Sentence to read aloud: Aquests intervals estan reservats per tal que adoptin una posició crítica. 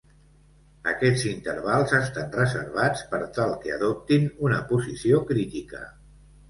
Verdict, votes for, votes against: accepted, 2, 0